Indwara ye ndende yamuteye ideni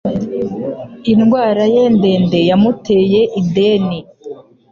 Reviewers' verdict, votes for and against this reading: accepted, 2, 0